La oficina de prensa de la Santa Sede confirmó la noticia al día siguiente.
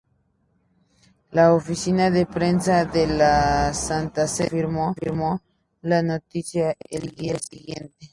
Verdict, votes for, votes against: rejected, 0, 2